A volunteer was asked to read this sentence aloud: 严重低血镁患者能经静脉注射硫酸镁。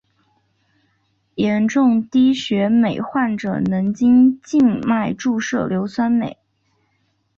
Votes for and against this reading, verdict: 4, 0, accepted